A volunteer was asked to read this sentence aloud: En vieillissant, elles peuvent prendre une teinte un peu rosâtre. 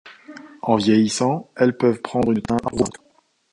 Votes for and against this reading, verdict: 0, 2, rejected